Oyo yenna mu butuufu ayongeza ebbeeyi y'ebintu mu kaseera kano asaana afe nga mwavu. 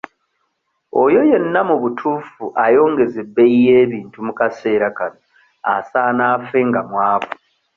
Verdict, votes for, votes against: accepted, 2, 0